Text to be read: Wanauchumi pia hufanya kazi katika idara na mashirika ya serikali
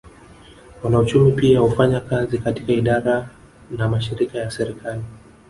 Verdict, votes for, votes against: accepted, 2, 0